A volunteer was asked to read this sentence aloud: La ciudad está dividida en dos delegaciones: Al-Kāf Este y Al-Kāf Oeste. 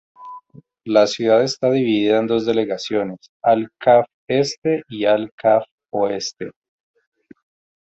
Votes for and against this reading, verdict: 2, 2, rejected